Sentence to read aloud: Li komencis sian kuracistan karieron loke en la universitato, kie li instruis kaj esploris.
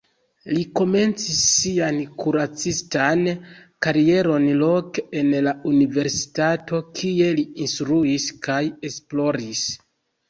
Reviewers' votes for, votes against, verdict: 0, 2, rejected